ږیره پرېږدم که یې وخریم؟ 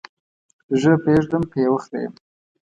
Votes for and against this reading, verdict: 2, 0, accepted